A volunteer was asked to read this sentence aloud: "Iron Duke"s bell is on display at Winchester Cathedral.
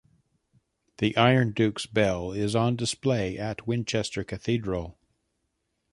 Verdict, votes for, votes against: rejected, 1, 2